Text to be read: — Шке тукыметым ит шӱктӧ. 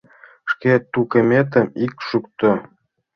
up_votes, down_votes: 1, 2